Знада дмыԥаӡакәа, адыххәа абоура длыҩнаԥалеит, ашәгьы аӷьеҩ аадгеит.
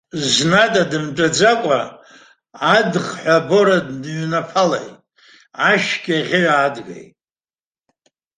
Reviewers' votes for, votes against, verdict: 0, 2, rejected